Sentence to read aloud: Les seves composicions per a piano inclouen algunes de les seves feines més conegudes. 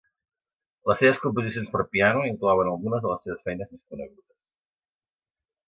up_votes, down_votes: 0, 3